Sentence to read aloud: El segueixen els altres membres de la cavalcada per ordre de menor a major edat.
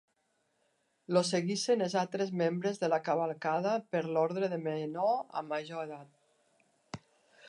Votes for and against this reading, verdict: 1, 2, rejected